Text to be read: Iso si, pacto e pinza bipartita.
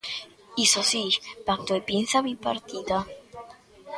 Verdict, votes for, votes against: accepted, 2, 0